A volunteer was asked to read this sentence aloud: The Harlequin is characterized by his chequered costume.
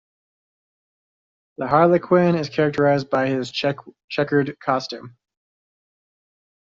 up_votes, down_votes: 1, 2